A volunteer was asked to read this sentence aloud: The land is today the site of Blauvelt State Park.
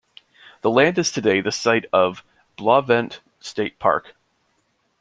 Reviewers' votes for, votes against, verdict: 1, 2, rejected